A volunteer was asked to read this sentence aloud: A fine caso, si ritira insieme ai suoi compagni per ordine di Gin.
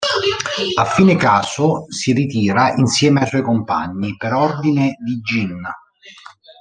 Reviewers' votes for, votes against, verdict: 1, 2, rejected